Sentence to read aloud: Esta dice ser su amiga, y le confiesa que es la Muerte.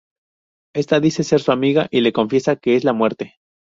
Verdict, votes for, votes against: accepted, 4, 0